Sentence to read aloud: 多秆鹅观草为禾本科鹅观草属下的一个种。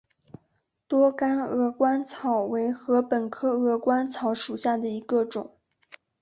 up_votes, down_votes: 2, 0